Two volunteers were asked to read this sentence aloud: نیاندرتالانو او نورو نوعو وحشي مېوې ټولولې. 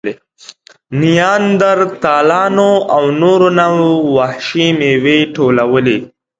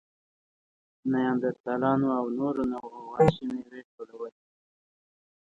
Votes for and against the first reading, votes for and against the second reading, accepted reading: 2, 0, 1, 2, first